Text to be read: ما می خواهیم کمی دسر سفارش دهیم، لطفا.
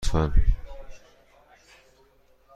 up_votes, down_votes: 1, 2